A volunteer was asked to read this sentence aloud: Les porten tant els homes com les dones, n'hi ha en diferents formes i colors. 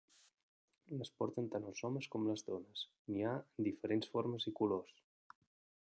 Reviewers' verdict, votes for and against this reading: rejected, 0, 2